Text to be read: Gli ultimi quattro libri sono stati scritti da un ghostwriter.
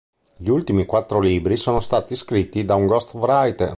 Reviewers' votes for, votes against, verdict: 2, 0, accepted